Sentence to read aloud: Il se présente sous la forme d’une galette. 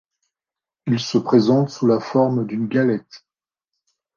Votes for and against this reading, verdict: 2, 0, accepted